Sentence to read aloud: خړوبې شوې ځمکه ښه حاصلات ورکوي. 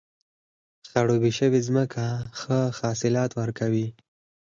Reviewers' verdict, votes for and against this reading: accepted, 4, 0